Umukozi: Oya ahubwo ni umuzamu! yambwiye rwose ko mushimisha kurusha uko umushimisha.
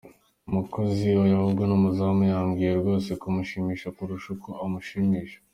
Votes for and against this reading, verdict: 2, 0, accepted